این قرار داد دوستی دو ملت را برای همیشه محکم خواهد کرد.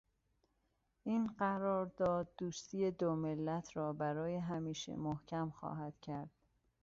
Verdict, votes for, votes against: accepted, 2, 0